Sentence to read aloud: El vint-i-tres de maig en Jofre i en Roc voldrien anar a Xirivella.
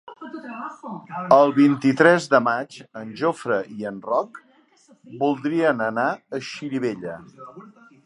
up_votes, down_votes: 4, 0